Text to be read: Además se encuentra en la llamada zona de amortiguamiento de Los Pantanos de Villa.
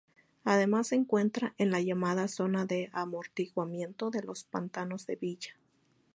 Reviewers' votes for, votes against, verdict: 2, 0, accepted